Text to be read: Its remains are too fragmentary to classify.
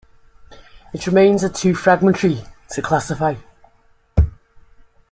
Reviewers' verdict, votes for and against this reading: accepted, 2, 0